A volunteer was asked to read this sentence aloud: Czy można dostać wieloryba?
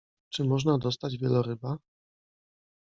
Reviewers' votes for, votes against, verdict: 2, 0, accepted